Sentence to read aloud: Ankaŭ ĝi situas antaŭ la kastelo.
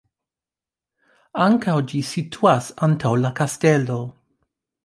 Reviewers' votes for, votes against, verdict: 0, 2, rejected